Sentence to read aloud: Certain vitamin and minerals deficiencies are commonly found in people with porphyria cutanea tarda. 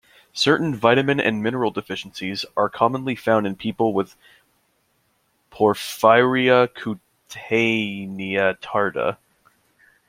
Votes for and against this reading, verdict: 0, 2, rejected